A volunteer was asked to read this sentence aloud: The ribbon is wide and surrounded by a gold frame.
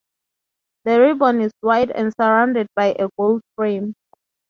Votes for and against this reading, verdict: 4, 0, accepted